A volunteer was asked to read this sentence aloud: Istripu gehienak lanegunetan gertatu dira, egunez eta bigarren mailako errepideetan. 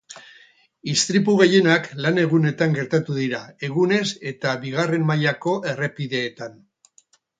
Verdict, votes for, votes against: rejected, 2, 2